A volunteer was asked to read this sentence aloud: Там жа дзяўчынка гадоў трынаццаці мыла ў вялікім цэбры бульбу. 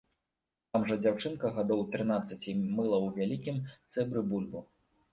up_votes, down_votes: 2, 0